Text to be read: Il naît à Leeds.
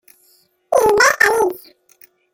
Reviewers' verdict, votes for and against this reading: rejected, 0, 2